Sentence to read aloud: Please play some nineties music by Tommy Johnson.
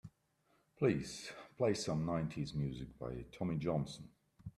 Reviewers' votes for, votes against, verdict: 2, 0, accepted